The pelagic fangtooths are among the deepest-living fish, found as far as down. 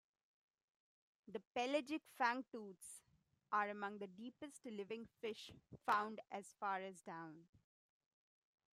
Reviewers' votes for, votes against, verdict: 0, 3, rejected